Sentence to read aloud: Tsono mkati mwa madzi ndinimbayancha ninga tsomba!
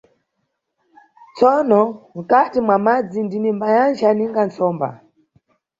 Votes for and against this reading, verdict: 2, 0, accepted